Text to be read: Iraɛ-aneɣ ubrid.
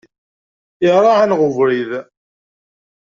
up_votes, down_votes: 2, 0